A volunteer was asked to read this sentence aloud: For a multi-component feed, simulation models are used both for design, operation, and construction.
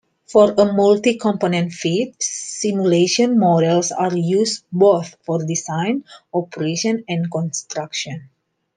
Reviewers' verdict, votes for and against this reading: accepted, 2, 0